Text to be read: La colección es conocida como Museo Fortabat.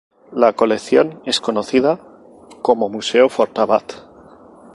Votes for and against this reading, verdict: 2, 2, rejected